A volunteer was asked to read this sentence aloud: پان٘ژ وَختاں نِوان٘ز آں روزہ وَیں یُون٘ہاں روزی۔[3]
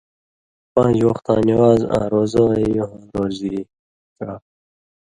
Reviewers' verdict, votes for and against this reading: rejected, 0, 2